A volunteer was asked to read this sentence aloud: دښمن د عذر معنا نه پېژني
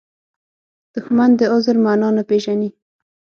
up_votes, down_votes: 6, 0